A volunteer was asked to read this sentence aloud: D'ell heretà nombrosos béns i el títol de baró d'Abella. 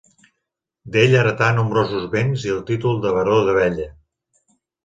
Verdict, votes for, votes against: accepted, 2, 0